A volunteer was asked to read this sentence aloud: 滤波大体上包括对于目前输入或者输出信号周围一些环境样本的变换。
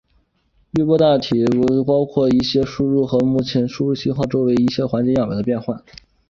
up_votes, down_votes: 3, 0